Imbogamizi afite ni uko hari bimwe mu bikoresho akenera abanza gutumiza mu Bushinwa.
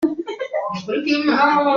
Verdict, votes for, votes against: rejected, 0, 2